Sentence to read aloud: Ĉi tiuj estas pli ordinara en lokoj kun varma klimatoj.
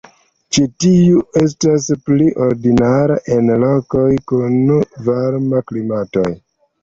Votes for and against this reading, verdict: 1, 2, rejected